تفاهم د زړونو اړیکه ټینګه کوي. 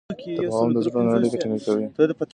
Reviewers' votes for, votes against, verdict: 2, 0, accepted